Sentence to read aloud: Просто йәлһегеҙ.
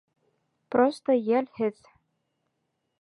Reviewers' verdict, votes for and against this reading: rejected, 1, 2